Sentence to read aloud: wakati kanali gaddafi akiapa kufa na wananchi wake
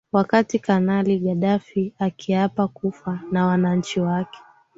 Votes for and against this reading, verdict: 6, 4, accepted